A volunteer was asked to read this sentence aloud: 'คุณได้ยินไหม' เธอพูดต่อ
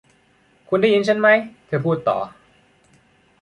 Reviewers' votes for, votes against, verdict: 0, 2, rejected